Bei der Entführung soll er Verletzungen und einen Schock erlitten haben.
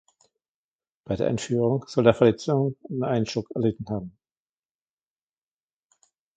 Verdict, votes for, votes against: accepted, 2, 1